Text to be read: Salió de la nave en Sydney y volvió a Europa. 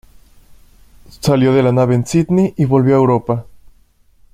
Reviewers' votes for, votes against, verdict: 2, 0, accepted